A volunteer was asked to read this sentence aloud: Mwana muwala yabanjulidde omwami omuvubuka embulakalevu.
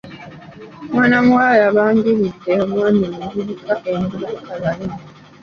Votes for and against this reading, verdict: 2, 0, accepted